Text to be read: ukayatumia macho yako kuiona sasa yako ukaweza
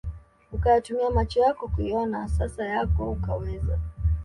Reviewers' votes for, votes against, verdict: 2, 0, accepted